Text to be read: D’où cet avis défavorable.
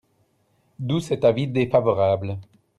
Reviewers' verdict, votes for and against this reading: accepted, 2, 0